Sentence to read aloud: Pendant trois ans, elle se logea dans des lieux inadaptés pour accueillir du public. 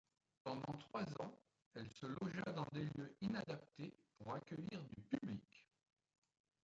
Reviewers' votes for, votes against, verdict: 1, 2, rejected